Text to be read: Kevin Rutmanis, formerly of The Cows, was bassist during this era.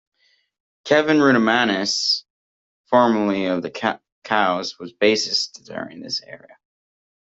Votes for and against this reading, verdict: 0, 2, rejected